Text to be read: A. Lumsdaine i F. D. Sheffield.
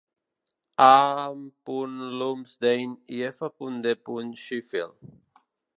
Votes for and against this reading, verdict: 0, 2, rejected